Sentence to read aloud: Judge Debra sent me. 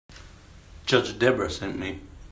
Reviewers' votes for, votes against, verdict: 2, 0, accepted